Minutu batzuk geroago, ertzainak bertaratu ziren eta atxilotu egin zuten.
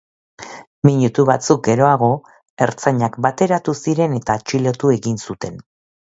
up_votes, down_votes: 2, 1